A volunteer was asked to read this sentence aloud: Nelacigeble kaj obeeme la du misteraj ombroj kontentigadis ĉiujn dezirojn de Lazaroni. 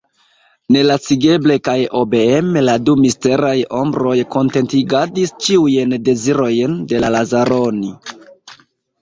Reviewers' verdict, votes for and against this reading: accepted, 2, 0